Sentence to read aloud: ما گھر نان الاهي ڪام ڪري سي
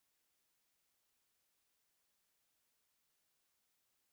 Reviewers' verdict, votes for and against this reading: rejected, 1, 2